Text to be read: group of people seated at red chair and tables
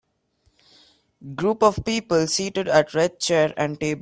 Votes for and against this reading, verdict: 3, 4, rejected